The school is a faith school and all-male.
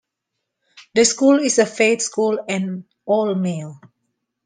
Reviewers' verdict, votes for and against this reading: accepted, 2, 0